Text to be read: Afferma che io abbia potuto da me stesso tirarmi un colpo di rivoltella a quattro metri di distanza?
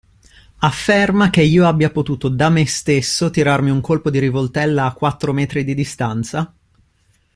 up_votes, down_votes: 2, 0